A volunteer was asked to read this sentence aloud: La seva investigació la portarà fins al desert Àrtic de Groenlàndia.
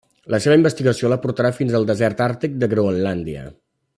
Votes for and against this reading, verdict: 3, 0, accepted